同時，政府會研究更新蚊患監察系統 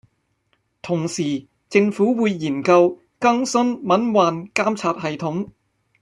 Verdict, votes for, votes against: rejected, 1, 2